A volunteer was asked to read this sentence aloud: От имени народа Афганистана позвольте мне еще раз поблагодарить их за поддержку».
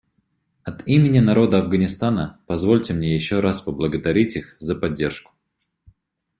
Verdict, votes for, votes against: rejected, 1, 2